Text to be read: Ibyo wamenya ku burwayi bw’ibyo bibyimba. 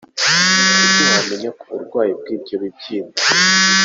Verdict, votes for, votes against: rejected, 0, 2